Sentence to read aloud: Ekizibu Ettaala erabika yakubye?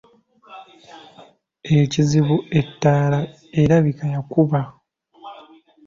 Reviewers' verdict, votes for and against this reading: rejected, 0, 2